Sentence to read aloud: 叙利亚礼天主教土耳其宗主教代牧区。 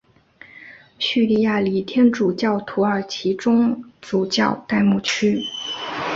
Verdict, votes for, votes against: accepted, 2, 0